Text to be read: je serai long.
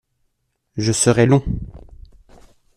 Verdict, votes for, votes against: accepted, 2, 0